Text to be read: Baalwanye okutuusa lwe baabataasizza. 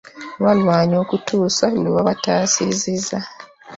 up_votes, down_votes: 0, 2